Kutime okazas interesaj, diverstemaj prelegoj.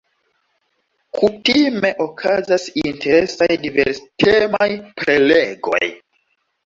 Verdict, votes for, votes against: accepted, 2, 0